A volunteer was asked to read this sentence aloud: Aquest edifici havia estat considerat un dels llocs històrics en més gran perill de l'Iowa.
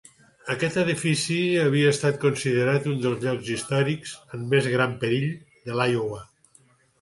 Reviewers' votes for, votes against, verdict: 2, 0, accepted